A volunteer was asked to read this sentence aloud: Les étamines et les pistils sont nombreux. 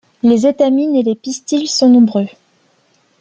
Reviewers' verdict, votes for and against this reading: accepted, 2, 0